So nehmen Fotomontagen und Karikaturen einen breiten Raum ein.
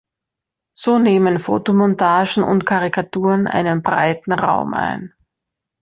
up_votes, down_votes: 3, 0